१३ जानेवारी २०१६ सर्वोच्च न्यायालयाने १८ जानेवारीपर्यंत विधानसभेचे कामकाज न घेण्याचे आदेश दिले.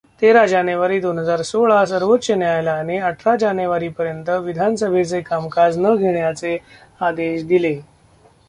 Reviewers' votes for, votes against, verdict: 0, 2, rejected